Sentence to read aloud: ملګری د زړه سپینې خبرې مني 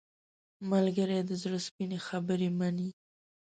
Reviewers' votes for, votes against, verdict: 2, 0, accepted